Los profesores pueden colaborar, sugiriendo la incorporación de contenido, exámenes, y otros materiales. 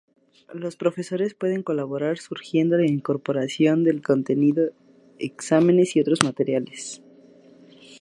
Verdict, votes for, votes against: rejected, 0, 2